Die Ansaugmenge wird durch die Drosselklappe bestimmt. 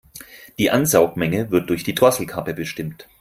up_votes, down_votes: 0, 4